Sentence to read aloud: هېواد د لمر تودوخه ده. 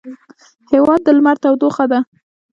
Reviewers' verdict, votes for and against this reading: accepted, 2, 0